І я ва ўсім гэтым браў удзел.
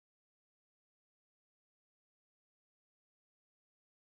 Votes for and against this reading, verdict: 0, 2, rejected